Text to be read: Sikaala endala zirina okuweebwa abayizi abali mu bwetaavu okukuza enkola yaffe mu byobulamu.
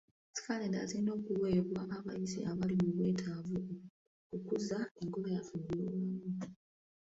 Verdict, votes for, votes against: rejected, 0, 2